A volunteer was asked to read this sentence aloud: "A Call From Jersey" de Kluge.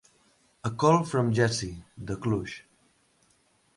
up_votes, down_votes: 2, 1